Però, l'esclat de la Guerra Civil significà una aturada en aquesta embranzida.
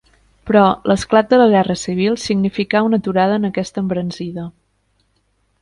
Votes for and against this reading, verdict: 2, 0, accepted